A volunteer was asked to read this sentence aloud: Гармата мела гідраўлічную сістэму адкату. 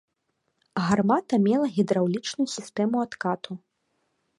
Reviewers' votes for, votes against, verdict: 3, 0, accepted